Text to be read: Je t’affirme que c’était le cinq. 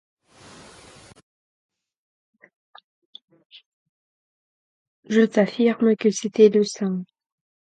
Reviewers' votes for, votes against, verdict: 0, 4, rejected